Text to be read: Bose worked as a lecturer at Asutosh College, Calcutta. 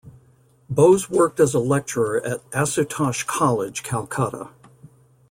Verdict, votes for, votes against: accepted, 2, 0